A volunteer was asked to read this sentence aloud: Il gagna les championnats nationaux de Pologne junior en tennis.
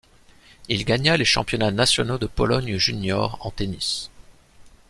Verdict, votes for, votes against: accepted, 2, 0